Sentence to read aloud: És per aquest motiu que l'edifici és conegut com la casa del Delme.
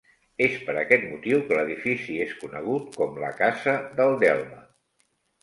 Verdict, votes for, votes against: accepted, 2, 0